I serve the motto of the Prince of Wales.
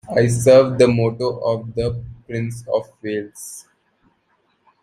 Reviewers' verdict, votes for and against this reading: accepted, 2, 0